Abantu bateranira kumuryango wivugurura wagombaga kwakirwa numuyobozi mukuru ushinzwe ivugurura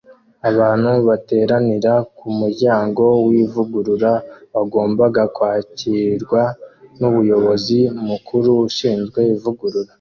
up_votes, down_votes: 2, 1